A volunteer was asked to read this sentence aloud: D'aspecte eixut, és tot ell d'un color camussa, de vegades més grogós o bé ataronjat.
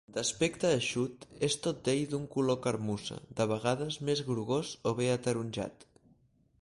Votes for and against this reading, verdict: 0, 4, rejected